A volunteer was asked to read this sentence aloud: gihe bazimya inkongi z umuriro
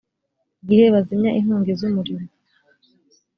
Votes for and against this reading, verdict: 3, 0, accepted